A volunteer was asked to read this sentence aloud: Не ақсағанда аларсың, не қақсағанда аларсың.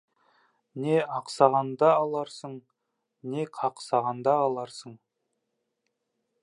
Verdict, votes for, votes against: accepted, 2, 0